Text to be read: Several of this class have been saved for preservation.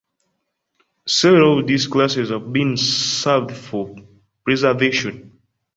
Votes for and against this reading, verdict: 0, 3, rejected